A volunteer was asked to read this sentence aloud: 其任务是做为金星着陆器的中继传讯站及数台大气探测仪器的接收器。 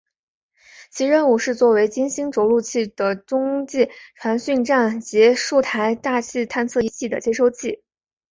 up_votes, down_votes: 2, 1